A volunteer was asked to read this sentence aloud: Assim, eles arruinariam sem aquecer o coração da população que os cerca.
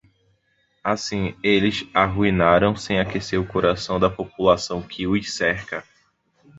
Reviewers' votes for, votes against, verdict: 0, 2, rejected